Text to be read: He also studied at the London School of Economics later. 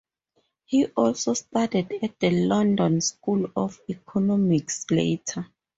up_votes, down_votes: 0, 2